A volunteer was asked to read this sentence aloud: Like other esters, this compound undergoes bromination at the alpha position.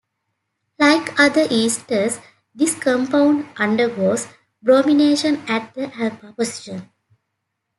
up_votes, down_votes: 1, 2